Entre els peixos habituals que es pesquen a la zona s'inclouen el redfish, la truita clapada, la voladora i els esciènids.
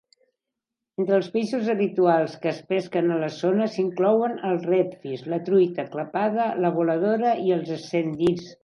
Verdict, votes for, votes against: rejected, 1, 2